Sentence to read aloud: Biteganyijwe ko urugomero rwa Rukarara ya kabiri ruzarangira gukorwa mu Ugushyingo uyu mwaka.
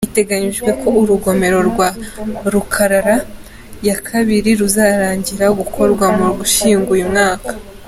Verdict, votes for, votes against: accepted, 2, 0